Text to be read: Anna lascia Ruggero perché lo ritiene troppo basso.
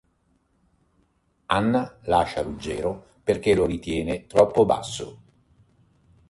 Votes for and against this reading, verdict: 2, 0, accepted